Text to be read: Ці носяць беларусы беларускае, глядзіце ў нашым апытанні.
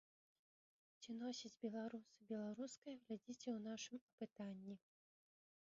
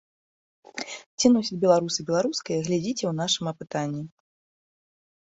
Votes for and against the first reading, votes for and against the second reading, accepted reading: 0, 2, 2, 0, second